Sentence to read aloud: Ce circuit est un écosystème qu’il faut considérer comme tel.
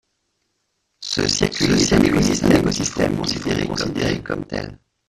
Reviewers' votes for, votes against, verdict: 0, 2, rejected